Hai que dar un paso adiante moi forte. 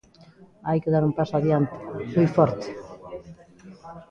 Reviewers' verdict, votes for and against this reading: rejected, 1, 2